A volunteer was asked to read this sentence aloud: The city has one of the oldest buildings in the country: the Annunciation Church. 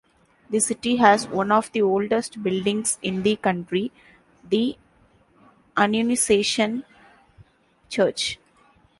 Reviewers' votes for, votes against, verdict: 0, 2, rejected